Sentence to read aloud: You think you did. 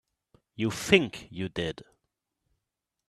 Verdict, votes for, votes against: accepted, 2, 0